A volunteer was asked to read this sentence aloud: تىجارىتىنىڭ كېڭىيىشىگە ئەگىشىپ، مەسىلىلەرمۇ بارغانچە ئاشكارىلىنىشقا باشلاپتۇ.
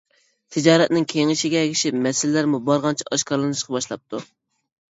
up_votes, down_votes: 1, 2